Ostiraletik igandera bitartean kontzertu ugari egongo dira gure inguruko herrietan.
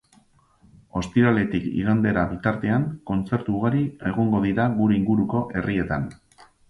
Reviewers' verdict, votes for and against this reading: accepted, 2, 0